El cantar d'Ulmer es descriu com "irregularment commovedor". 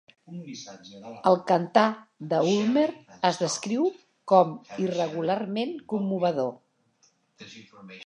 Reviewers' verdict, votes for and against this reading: rejected, 0, 2